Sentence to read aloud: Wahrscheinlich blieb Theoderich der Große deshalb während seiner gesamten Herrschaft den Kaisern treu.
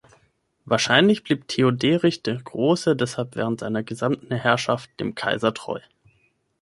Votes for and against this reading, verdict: 0, 6, rejected